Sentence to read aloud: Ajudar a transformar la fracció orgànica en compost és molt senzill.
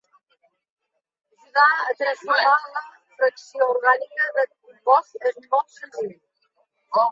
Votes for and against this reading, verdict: 0, 2, rejected